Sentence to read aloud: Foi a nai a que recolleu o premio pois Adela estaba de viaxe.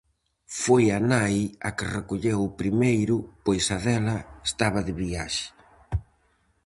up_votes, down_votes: 0, 4